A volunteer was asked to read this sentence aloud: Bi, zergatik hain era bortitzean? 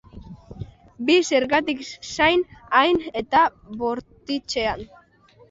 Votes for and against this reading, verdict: 0, 4, rejected